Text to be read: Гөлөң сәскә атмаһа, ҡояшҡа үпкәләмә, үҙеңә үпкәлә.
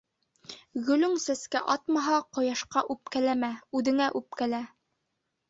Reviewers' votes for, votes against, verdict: 2, 0, accepted